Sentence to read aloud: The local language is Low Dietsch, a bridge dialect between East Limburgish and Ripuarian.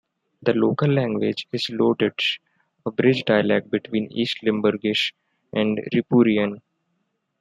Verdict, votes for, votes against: rejected, 1, 2